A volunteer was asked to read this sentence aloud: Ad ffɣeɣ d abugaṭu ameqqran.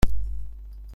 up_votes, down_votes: 0, 2